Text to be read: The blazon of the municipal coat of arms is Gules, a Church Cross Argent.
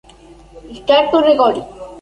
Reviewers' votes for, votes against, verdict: 0, 2, rejected